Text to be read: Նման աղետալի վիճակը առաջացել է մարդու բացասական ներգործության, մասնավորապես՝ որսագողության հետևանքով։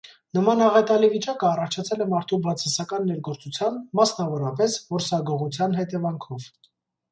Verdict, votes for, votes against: accepted, 2, 0